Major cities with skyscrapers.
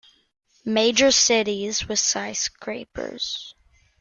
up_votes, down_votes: 2, 0